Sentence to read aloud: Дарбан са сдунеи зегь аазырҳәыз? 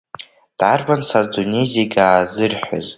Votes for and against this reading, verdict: 1, 2, rejected